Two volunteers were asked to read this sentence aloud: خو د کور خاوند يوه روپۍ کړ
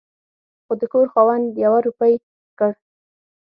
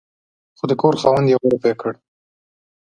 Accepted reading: second